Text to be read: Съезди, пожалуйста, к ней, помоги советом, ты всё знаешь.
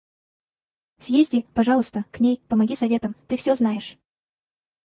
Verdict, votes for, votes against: rejected, 0, 4